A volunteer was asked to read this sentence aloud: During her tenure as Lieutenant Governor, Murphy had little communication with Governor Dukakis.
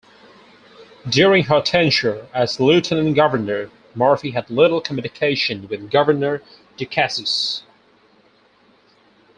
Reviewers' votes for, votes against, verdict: 2, 2, rejected